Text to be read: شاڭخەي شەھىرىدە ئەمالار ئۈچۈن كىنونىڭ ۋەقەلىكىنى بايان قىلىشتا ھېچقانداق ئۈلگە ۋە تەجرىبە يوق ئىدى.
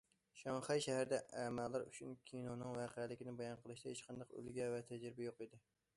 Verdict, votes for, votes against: accepted, 2, 0